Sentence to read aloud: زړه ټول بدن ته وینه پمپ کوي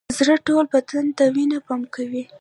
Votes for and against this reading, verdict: 1, 2, rejected